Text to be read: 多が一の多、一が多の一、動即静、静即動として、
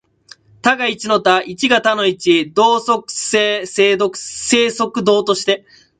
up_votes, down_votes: 0, 2